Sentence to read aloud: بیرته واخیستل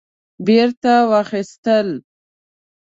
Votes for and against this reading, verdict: 3, 0, accepted